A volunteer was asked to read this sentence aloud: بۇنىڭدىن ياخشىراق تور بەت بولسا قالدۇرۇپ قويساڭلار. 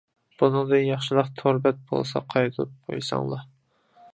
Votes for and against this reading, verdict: 0, 2, rejected